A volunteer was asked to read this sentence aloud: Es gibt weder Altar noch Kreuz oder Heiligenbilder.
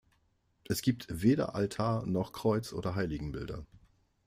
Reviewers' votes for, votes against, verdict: 2, 0, accepted